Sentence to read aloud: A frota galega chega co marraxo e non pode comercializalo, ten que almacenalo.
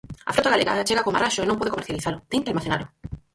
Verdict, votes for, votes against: rejected, 0, 4